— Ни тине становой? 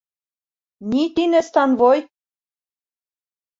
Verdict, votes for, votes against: rejected, 1, 2